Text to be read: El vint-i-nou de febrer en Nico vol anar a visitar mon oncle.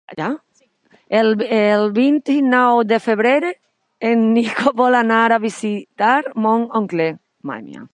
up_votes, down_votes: 1, 3